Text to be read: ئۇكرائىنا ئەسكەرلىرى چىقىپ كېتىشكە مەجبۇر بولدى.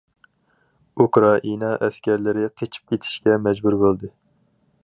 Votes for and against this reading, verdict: 2, 2, rejected